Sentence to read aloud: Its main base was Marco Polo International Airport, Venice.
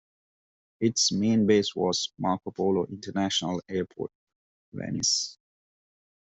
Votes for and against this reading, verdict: 2, 0, accepted